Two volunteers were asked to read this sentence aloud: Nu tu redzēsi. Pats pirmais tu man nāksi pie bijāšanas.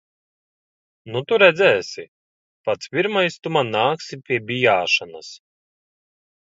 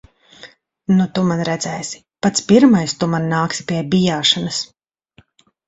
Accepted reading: first